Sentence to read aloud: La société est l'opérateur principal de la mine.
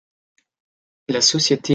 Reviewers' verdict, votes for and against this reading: rejected, 0, 2